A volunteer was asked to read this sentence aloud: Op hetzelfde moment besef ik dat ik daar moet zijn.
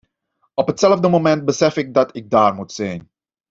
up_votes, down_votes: 2, 0